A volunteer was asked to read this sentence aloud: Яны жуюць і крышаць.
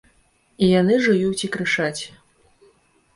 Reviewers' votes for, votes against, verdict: 2, 3, rejected